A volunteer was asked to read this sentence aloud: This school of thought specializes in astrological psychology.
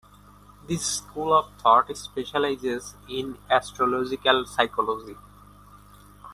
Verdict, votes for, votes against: rejected, 0, 2